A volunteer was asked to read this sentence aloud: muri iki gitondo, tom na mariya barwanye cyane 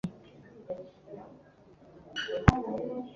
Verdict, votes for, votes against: rejected, 1, 2